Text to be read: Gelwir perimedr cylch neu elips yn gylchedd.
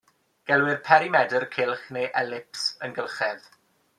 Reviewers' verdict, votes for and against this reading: accepted, 2, 0